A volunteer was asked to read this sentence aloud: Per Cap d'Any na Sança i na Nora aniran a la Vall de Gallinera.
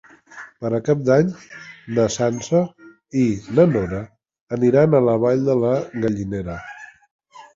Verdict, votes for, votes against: rejected, 0, 2